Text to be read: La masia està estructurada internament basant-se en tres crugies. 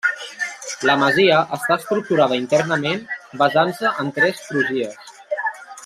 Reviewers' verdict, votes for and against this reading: rejected, 1, 2